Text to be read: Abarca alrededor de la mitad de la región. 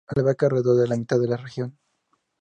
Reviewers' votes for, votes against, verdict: 0, 2, rejected